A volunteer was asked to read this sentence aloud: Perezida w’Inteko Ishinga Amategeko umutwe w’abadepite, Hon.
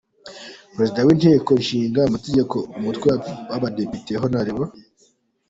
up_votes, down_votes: 2, 1